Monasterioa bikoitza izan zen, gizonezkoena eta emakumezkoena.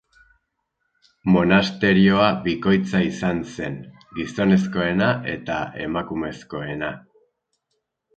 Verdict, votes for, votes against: accepted, 4, 0